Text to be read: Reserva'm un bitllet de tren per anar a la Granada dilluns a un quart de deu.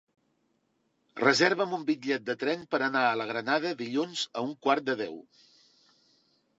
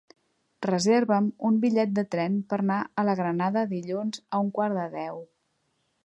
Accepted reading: first